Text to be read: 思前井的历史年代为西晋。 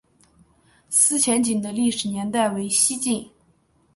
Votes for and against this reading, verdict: 3, 0, accepted